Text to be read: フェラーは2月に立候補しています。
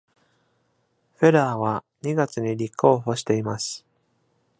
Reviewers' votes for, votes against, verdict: 0, 2, rejected